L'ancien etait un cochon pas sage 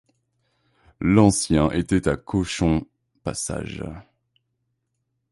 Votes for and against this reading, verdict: 2, 0, accepted